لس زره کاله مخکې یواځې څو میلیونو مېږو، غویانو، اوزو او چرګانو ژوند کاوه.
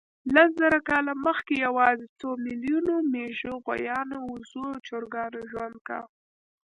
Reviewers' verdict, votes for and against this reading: accepted, 2, 1